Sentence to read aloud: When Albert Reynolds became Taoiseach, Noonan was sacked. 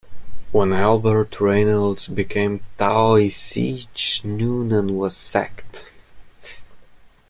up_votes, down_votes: 1, 2